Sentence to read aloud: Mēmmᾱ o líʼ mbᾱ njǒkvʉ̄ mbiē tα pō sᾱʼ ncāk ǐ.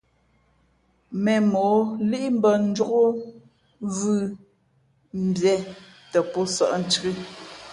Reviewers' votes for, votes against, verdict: 2, 0, accepted